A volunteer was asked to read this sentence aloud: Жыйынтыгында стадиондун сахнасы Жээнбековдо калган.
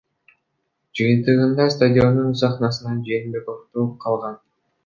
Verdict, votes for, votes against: rejected, 0, 2